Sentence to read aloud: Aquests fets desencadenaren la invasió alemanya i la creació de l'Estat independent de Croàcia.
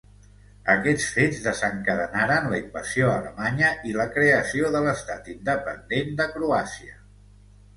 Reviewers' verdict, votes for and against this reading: accepted, 2, 0